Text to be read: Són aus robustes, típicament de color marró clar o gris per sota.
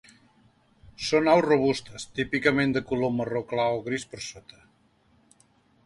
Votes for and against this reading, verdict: 2, 0, accepted